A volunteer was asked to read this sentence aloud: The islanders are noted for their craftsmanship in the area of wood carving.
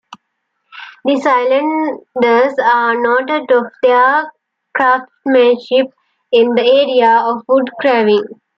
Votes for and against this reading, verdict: 0, 2, rejected